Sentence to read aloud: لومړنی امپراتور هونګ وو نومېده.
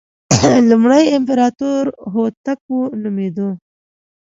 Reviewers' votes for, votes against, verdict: 1, 2, rejected